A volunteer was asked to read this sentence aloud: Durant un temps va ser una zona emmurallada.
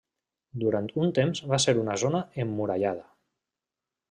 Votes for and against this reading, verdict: 3, 0, accepted